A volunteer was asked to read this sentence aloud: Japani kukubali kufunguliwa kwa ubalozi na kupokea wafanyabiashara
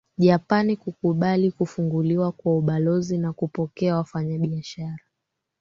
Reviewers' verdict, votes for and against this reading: accepted, 2, 1